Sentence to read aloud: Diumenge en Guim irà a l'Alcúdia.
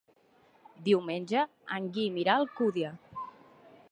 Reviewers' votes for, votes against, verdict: 0, 2, rejected